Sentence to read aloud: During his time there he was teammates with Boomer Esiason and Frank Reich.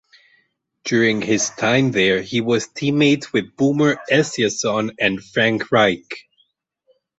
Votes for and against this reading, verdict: 2, 2, rejected